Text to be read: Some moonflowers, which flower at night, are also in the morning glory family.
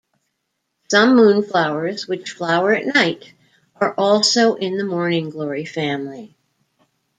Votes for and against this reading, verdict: 2, 0, accepted